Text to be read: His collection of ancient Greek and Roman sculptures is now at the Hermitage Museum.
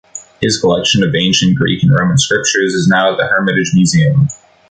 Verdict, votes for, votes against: rejected, 0, 2